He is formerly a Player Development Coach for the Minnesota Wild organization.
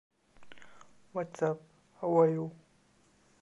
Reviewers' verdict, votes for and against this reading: rejected, 0, 2